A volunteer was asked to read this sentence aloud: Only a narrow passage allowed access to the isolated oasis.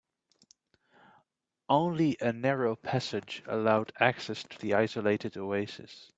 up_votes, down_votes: 2, 0